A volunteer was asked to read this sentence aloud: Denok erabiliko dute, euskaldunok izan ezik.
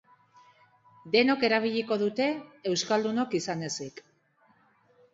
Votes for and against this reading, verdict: 1, 2, rejected